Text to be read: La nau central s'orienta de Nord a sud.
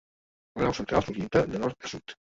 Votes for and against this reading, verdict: 0, 2, rejected